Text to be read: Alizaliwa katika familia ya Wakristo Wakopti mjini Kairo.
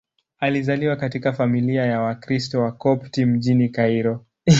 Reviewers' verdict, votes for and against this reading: accepted, 2, 0